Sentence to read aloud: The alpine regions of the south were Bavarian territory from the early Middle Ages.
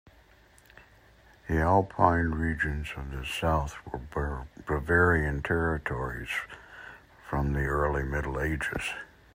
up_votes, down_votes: 1, 2